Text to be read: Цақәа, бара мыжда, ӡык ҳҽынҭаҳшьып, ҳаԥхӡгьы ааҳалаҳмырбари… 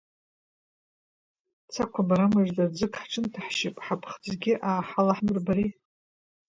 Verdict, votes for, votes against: accepted, 2, 1